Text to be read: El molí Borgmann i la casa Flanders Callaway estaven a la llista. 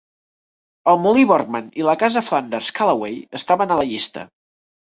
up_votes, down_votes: 2, 0